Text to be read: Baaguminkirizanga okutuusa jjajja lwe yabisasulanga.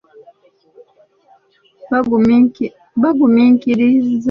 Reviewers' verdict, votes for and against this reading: rejected, 0, 2